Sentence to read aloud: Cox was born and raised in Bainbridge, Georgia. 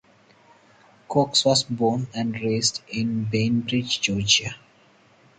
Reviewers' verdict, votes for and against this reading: accepted, 4, 0